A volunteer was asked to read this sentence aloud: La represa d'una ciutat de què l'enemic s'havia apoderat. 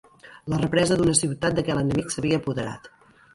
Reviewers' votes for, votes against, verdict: 2, 0, accepted